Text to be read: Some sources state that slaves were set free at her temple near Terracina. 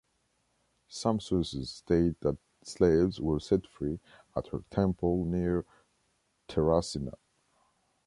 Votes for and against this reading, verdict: 2, 0, accepted